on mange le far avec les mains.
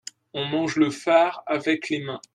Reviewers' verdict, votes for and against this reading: accepted, 2, 0